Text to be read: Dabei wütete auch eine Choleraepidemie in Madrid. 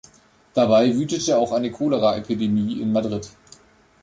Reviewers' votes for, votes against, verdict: 2, 0, accepted